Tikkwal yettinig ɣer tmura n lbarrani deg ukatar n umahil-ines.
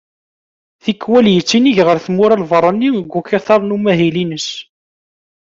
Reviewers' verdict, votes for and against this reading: accepted, 2, 0